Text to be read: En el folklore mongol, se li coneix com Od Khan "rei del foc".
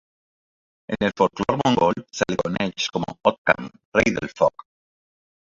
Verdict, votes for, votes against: rejected, 2, 3